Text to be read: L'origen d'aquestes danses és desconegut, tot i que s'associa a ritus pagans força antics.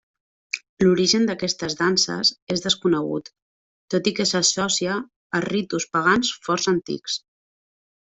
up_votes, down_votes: 0, 2